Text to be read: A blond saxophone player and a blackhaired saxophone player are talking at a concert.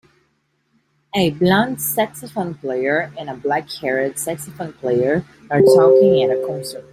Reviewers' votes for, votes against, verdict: 2, 0, accepted